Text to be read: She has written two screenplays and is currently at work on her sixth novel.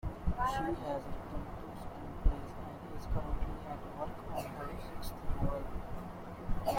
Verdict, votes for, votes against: rejected, 0, 2